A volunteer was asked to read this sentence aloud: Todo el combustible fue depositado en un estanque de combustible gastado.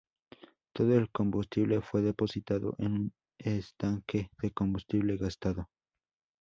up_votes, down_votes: 2, 0